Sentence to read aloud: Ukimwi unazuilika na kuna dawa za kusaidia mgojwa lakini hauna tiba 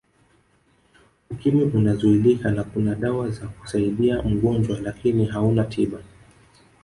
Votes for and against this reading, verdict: 3, 1, accepted